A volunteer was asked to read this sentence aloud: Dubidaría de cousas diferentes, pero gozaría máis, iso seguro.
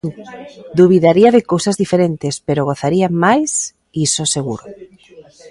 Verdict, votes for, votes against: accepted, 2, 0